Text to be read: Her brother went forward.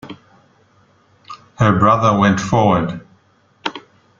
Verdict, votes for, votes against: accepted, 2, 0